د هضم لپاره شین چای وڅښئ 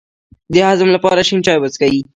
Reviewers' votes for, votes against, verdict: 2, 0, accepted